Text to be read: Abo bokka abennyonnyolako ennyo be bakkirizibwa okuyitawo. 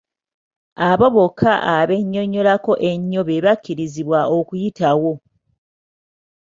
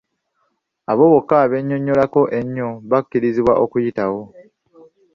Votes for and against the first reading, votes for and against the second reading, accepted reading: 3, 1, 1, 2, first